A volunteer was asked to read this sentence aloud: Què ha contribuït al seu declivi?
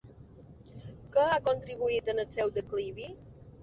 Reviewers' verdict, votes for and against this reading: rejected, 0, 2